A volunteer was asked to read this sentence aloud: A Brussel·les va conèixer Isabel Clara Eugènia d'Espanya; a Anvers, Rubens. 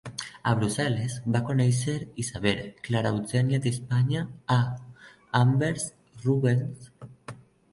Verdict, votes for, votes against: accepted, 2, 1